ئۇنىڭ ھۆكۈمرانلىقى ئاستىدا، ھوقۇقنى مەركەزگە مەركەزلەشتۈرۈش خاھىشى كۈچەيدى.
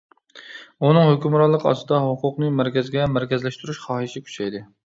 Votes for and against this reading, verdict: 2, 0, accepted